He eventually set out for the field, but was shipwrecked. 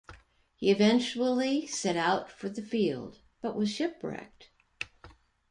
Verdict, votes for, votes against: accepted, 2, 0